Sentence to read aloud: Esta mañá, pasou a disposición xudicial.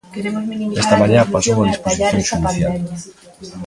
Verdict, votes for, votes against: rejected, 0, 2